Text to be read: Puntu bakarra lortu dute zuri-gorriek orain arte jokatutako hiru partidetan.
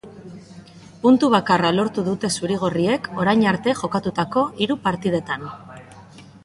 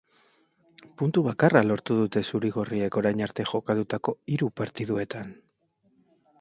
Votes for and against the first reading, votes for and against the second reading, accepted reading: 2, 0, 1, 2, first